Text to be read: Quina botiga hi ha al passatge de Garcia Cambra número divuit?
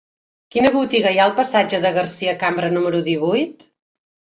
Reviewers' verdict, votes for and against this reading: accepted, 3, 0